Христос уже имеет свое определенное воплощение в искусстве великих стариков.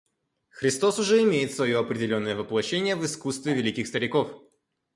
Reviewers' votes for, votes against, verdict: 2, 0, accepted